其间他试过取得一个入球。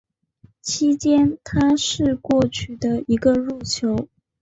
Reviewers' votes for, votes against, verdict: 5, 0, accepted